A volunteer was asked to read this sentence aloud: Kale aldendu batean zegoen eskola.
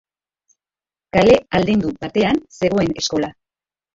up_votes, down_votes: 1, 3